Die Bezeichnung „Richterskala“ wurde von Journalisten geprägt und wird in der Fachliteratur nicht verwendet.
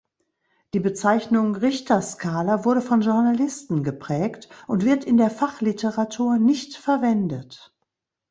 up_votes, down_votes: 2, 0